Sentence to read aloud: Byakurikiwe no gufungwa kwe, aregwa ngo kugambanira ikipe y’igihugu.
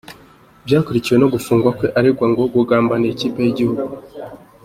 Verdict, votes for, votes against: accepted, 2, 0